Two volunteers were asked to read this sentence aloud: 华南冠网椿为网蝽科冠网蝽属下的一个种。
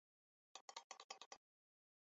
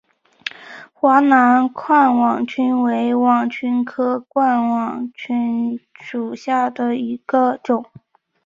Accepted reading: second